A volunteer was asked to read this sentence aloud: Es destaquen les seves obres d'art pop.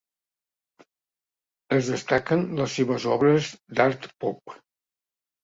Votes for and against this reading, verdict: 2, 0, accepted